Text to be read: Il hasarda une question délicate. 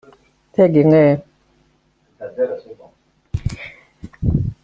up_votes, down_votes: 0, 2